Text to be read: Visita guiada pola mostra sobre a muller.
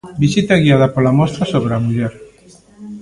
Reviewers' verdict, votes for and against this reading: rejected, 1, 2